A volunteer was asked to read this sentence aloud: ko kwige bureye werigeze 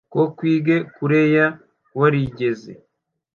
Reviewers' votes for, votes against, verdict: 0, 2, rejected